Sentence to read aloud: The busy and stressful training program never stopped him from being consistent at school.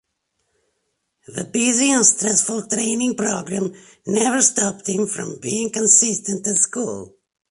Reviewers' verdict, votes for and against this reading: accepted, 8, 1